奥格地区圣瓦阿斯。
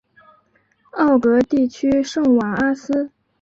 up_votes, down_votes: 3, 0